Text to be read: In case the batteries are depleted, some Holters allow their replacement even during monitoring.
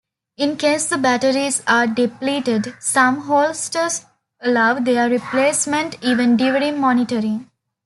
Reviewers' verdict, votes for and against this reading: accepted, 2, 1